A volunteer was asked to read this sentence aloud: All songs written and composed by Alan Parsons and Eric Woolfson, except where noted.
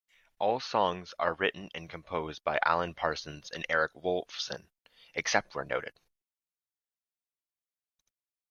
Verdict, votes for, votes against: rejected, 1, 2